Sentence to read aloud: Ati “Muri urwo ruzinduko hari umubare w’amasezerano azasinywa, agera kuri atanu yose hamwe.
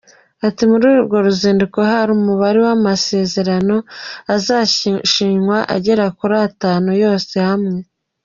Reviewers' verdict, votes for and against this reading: rejected, 1, 2